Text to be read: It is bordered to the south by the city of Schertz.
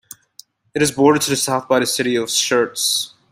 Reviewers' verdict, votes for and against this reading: accepted, 2, 0